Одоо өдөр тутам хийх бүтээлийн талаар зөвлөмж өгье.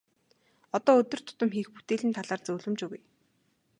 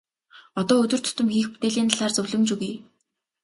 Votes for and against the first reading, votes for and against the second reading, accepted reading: 2, 2, 3, 0, second